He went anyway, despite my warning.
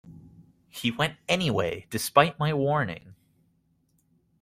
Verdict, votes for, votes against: accepted, 2, 0